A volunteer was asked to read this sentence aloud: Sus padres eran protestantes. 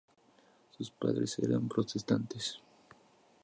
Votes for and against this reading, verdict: 2, 0, accepted